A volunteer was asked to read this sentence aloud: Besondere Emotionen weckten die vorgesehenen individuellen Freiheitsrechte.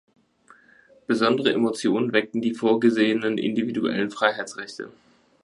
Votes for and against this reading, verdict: 4, 0, accepted